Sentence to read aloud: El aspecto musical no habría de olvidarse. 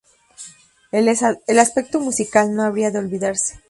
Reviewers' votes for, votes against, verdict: 0, 2, rejected